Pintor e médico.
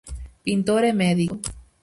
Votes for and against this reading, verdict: 0, 4, rejected